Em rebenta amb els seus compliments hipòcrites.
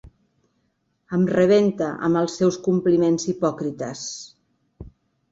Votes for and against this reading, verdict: 3, 1, accepted